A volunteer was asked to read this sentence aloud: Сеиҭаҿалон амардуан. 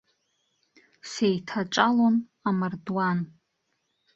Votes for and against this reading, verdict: 2, 0, accepted